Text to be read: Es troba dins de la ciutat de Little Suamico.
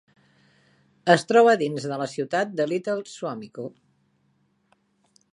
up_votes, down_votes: 3, 0